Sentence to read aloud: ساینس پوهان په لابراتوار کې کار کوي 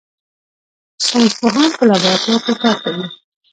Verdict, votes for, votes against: rejected, 0, 2